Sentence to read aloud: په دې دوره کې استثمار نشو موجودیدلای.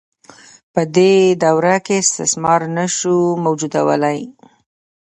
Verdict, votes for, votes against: rejected, 1, 2